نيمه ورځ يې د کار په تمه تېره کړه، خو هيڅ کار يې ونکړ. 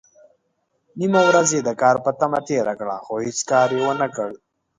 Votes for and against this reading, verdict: 1, 2, rejected